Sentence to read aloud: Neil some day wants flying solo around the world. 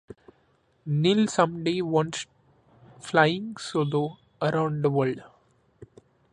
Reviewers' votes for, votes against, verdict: 2, 0, accepted